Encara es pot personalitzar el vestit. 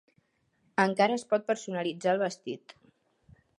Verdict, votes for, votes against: accepted, 3, 0